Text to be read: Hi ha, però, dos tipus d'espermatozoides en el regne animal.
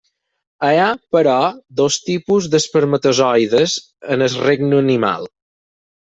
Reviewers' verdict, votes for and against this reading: rejected, 2, 4